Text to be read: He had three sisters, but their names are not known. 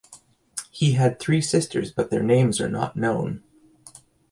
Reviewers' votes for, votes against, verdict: 2, 0, accepted